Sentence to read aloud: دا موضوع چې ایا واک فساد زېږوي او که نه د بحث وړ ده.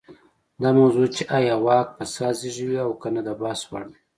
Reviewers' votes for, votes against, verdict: 2, 0, accepted